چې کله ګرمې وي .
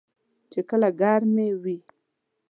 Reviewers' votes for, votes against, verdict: 2, 0, accepted